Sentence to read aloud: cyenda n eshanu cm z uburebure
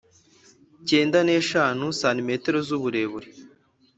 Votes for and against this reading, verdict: 4, 0, accepted